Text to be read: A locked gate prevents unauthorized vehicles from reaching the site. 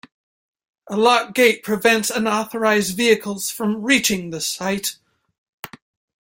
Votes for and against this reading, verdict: 1, 2, rejected